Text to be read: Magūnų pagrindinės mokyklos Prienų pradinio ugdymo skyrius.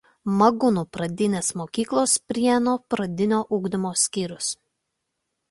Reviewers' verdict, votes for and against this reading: accepted, 2, 0